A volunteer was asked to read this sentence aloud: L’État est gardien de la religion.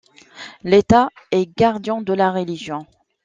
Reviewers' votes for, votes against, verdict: 1, 2, rejected